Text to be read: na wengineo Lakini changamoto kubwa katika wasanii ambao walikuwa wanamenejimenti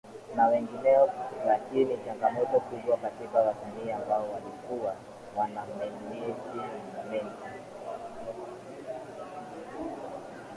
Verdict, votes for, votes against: rejected, 0, 2